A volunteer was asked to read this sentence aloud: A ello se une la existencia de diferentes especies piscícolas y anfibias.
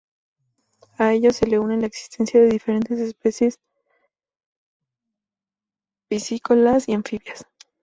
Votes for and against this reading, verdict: 2, 0, accepted